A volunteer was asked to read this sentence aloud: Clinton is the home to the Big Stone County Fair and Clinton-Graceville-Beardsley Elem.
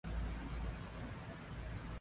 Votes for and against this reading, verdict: 0, 2, rejected